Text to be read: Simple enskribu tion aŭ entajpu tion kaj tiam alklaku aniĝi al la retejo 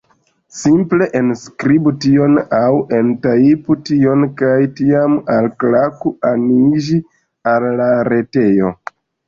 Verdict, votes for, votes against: accepted, 2, 0